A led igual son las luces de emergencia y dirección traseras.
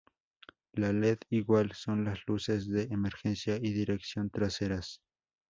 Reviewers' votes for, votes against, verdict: 6, 2, accepted